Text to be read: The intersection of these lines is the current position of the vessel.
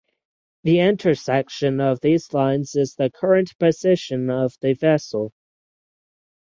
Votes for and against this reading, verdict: 3, 3, rejected